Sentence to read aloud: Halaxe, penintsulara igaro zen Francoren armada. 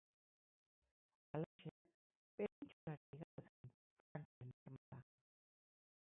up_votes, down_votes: 0, 12